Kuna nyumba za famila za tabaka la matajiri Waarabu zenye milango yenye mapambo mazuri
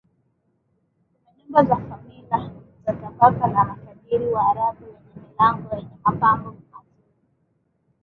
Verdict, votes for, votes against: rejected, 0, 2